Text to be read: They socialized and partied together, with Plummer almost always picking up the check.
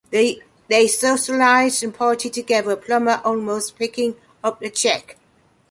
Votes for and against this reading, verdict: 2, 1, accepted